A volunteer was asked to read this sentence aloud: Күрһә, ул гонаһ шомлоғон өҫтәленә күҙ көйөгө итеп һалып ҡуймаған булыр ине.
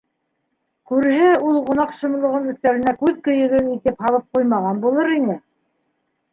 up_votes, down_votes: 2, 1